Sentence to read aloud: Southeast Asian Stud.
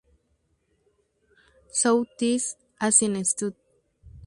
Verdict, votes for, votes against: rejected, 0, 2